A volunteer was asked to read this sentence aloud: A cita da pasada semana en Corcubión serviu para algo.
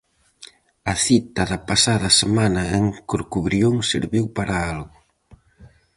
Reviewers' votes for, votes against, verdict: 0, 4, rejected